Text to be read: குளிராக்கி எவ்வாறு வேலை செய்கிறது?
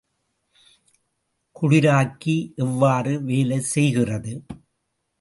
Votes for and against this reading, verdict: 0, 2, rejected